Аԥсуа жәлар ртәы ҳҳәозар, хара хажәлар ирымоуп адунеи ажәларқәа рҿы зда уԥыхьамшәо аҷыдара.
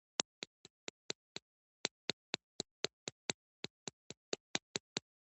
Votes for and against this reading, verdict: 0, 2, rejected